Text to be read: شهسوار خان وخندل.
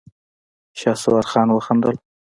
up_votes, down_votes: 0, 2